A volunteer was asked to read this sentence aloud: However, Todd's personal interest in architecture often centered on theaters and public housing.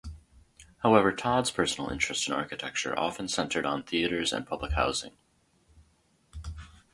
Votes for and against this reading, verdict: 2, 0, accepted